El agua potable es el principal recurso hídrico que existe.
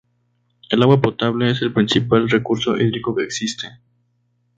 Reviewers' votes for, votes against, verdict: 4, 0, accepted